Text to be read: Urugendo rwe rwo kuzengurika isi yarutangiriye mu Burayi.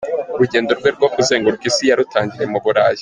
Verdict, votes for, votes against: accepted, 2, 1